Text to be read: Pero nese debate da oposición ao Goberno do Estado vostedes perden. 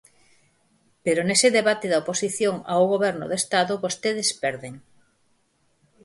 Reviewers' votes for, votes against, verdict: 4, 0, accepted